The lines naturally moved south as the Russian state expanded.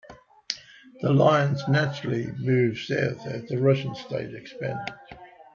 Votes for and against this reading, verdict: 2, 0, accepted